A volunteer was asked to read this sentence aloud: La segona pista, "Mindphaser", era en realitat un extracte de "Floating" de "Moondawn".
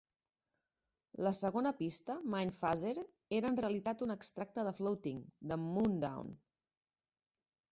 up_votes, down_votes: 2, 0